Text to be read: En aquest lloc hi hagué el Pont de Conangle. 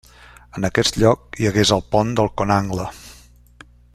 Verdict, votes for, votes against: rejected, 1, 2